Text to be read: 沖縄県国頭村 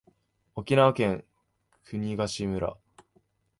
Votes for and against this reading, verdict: 2, 0, accepted